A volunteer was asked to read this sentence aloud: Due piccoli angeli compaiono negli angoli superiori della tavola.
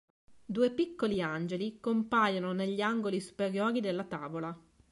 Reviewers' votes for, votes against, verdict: 2, 0, accepted